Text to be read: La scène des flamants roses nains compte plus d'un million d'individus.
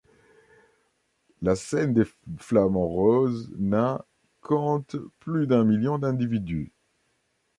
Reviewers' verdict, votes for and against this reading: rejected, 1, 2